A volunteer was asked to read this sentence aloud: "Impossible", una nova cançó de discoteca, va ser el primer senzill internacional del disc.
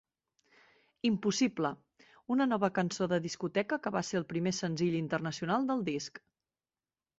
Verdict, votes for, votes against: rejected, 0, 2